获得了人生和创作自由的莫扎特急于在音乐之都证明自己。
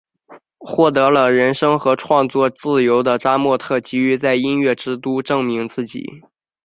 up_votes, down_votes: 3, 4